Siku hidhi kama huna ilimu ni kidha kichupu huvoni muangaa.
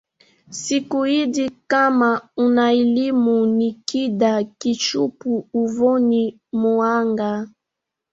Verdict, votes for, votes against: rejected, 1, 2